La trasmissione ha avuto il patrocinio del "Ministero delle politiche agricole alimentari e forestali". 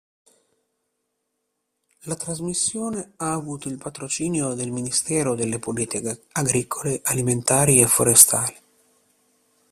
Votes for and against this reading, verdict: 1, 2, rejected